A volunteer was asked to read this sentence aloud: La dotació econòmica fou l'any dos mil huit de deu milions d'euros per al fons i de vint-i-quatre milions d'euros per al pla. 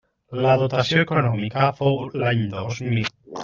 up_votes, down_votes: 0, 2